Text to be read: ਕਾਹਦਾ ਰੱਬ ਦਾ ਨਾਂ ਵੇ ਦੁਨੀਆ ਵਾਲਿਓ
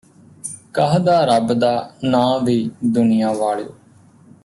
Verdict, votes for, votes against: rejected, 1, 2